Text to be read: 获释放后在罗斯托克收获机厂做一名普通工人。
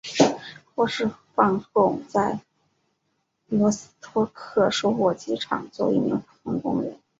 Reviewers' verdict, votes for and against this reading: accepted, 3, 0